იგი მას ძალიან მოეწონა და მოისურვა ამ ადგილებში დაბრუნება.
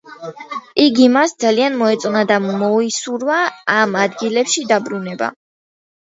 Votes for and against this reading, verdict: 2, 0, accepted